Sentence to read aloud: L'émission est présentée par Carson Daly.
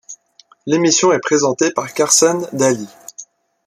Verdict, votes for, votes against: accepted, 2, 0